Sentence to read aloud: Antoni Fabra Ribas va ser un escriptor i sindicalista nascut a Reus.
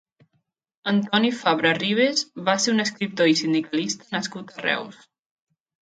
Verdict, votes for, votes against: rejected, 1, 2